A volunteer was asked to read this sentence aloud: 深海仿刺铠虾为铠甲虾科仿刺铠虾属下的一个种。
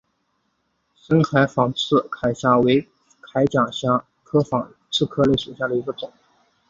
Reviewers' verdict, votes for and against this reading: accepted, 3, 1